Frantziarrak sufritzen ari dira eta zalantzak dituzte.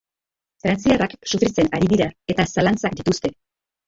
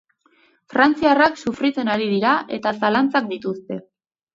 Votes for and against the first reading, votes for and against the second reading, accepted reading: 0, 2, 2, 0, second